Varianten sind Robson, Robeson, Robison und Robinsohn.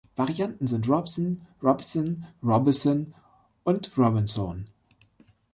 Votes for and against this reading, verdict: 0, 2, rejected